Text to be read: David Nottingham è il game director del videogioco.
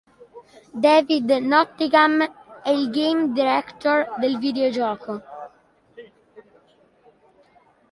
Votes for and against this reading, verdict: 2, 1, accepted